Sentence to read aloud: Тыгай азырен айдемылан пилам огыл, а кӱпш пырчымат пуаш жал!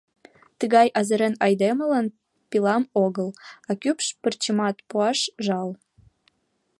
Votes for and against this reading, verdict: 2, 0, accepted